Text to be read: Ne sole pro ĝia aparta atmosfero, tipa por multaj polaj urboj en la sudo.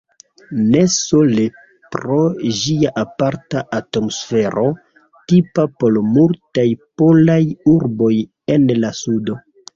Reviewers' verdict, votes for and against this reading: rejected, 1, 2